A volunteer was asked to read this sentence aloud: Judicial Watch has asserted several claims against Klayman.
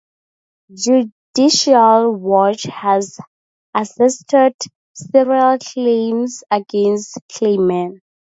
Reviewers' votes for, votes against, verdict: 0, 2, rejected